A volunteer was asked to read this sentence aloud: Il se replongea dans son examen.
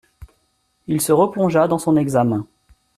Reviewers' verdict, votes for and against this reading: accepted, 2, 0